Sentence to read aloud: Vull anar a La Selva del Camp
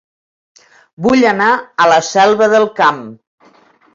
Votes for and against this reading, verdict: 2, 0, accepted